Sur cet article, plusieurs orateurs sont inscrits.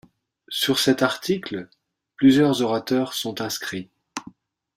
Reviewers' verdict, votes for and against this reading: accepted, 2, 0